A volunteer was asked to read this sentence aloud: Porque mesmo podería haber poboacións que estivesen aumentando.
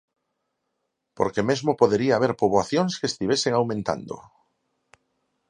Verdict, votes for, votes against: accepted, 4, 0